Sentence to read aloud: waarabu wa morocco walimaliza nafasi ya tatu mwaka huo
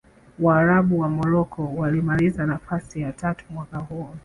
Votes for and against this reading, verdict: 2, 1, accepted